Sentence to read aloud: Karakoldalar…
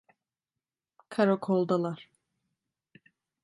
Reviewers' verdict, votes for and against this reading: accepted, 2, 0